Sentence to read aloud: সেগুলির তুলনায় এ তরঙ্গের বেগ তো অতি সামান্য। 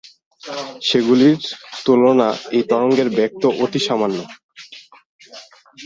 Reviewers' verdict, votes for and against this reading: accepted, 4, 0